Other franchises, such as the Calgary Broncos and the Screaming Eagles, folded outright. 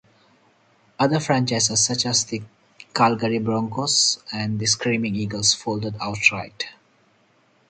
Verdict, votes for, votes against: accepted, 4, 0